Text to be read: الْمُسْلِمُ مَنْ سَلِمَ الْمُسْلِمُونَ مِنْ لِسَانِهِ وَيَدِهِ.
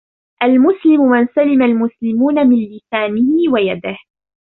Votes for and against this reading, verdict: 2, 0, accepted